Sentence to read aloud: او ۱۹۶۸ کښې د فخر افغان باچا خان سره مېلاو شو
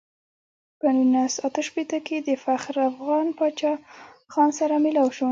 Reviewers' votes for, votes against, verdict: 0, 2, rejected